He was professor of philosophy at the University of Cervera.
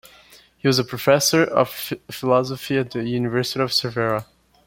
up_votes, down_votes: 2, 1